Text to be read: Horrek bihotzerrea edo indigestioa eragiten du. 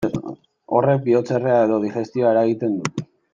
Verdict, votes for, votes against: rejected, 1, 2